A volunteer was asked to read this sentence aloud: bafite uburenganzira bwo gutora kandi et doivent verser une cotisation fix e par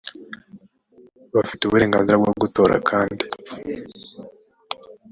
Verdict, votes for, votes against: rejected, 0, 3